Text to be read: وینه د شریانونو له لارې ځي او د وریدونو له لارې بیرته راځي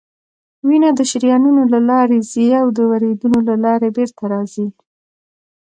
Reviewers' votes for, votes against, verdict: 2, 0, accepted